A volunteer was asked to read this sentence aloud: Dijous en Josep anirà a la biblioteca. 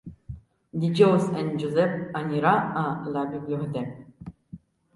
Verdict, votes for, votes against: rejected, 1, 2